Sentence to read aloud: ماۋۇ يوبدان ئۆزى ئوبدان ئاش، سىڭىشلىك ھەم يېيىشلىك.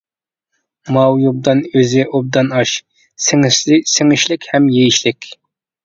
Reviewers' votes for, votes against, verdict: 0, 2, rejected